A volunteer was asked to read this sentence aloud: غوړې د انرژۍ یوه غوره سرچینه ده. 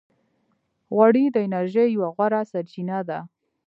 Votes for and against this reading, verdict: 2, 0, accepted